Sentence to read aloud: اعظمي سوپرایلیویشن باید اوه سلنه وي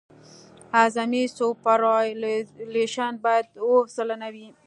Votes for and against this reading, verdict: 1, 2, rejected